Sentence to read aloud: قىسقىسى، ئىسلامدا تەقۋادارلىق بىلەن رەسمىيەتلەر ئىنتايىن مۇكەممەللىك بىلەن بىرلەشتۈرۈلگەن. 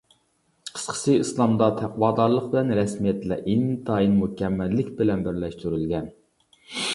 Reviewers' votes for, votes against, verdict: 2, 0, accepted